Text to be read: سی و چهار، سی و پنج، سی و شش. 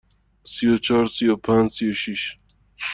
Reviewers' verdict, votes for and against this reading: accepted, 2, 0